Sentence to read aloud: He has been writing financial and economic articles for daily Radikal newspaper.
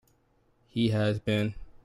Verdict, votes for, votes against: rejected, 1, 2